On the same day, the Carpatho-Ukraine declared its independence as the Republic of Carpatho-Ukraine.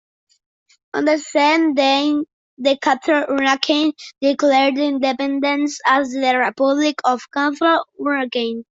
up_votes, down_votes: 0, 2